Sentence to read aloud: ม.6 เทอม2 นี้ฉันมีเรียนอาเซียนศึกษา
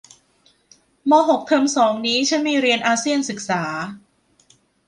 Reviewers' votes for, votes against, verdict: 0, 2, rejected